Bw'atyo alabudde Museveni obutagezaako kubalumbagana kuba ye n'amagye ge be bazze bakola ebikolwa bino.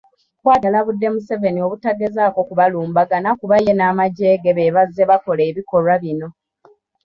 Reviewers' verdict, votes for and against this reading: accepted, 2, 0